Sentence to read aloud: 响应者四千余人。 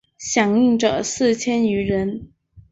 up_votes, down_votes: 7, 0